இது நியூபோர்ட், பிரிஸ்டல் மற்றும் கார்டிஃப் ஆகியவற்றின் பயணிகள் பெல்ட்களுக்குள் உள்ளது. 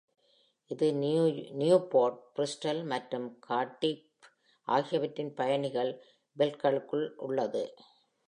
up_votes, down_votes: 0, 2